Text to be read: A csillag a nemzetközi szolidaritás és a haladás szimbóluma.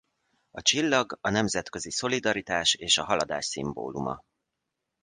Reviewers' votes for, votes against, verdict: 2, 0, accepted